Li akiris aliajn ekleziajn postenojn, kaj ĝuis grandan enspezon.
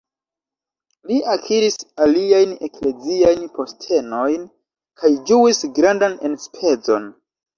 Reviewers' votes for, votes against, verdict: 2, 0, accepted